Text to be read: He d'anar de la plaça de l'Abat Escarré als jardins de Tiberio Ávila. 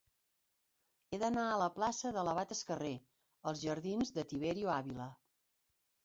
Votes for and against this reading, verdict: 2, 1, accepted